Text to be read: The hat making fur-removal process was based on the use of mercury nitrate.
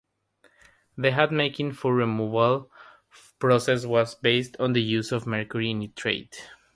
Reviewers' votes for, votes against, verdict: 3, 0, accepted